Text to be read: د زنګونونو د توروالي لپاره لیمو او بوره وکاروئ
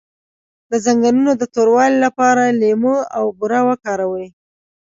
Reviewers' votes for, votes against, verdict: 2, 0, accepted